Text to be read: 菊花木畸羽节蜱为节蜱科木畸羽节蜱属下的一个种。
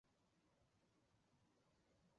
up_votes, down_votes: 1, 2